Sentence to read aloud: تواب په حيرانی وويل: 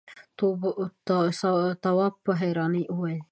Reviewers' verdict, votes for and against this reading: rejected, 1, 2